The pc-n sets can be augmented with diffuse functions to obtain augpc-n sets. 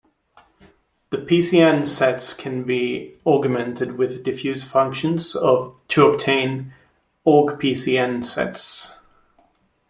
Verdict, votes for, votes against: rejected, 0, 2